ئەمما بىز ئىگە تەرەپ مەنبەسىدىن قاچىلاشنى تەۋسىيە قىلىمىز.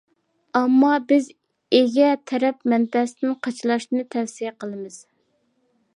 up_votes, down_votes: 2, 0